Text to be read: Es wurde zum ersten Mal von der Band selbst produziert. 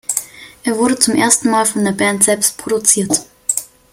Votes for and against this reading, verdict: 1, 2, rejected